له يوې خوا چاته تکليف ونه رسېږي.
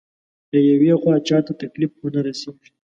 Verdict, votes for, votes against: accepted, 2, 0